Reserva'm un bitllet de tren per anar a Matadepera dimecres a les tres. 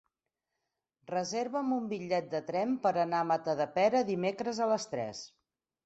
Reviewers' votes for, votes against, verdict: 6, 0, accepted